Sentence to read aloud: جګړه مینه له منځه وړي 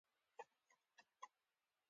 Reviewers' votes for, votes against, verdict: 1, 2, rejected